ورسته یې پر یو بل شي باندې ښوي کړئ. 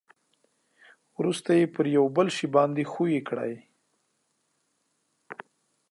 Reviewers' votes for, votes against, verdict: 2, 0, accepted